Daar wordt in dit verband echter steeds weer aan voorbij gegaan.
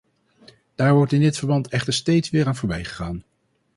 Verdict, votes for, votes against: rejected, 2, 2